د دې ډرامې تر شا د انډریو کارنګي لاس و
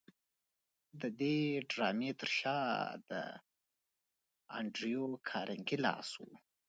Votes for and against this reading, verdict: 0, 2, rejected